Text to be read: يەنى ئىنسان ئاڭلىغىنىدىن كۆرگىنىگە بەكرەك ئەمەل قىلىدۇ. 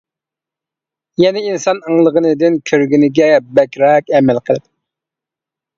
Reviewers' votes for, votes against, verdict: 1, 2, rejected